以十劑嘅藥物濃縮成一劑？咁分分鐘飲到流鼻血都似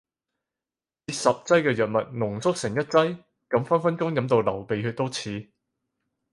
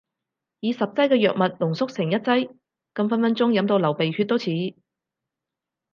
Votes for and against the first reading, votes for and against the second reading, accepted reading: 4, 0, 0, 2, first